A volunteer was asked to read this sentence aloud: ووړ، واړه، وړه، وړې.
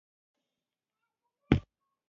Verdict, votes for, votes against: rejected, 1, 2